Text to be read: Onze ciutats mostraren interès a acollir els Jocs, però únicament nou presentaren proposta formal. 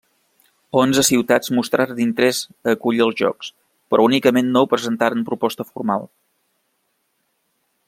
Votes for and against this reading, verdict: 2, 0, accepted